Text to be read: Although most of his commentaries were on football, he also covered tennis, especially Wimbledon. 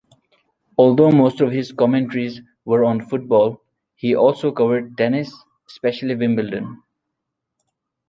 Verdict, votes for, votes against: rejected, 1, 2